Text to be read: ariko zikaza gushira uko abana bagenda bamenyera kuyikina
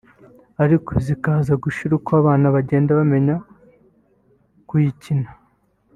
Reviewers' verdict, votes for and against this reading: rejected, 1, 2